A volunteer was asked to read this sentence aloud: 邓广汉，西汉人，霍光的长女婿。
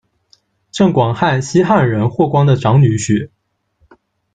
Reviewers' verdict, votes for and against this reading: rejected, 1, 2